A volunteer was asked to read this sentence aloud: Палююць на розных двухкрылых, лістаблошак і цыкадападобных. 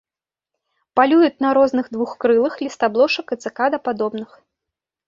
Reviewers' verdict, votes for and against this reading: rejected, 0, 2